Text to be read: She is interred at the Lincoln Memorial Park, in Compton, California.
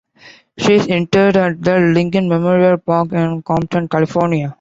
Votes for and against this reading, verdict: 2, 1, accepted